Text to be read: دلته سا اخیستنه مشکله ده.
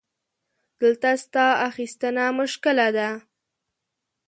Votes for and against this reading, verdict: 1, 2, rejected